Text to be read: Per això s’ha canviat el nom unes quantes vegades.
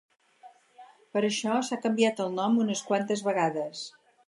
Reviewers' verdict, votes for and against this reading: accepted, 4, 0